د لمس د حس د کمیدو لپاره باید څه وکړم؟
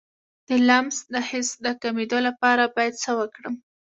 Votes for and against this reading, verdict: 2, 0, accepted